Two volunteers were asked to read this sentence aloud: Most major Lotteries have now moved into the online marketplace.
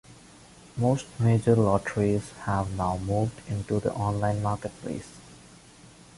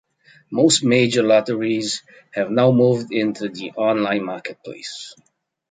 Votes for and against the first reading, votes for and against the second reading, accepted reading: 1, 2, 2, 0, second